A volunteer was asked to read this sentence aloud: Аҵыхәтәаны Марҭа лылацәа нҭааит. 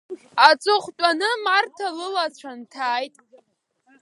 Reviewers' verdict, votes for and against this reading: accepted, 2, 1